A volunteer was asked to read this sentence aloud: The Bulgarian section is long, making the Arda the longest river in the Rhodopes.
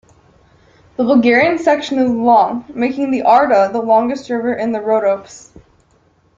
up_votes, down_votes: 2, 0